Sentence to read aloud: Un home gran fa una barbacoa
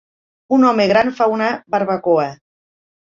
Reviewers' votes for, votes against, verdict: 4, 0, accepted